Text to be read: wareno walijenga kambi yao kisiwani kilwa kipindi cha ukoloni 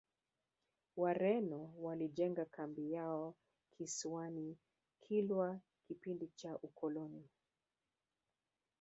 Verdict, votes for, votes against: rejected, 1, 2